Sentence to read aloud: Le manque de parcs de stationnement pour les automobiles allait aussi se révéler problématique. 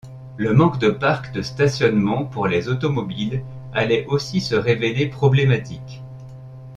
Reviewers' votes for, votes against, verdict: 2, 0, accepted